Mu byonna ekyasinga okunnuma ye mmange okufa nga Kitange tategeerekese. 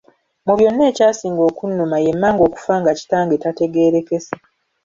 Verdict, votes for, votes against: accepted, 2, 1